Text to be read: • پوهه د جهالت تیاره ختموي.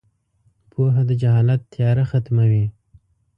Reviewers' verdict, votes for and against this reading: accepted, 2, 0